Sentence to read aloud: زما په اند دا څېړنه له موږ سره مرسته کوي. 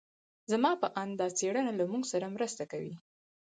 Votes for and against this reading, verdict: 2, 4, rejected